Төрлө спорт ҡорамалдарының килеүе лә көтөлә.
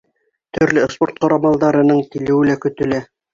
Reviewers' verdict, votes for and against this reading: accepted, 2, 1